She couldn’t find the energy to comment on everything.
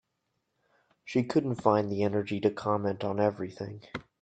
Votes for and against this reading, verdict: 2, 0, accepted